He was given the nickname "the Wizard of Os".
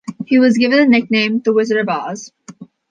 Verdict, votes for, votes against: accepted, 2, 0